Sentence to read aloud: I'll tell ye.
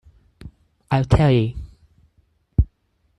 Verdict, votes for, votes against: rejected, 0, 4